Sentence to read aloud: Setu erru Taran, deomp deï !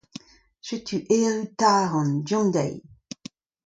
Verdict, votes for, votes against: accepted, 2, 0